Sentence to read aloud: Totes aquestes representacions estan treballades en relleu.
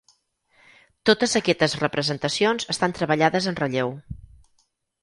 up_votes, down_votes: 2, 4